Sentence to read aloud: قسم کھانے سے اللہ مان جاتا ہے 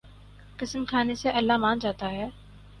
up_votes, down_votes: 4, 0